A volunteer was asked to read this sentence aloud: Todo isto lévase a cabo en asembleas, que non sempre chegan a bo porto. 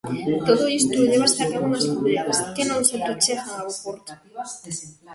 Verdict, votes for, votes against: rejected, 0, 2